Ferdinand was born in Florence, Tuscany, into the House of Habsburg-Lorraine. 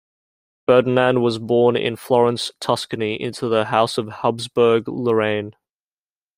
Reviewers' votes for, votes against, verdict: 2, 0, accepted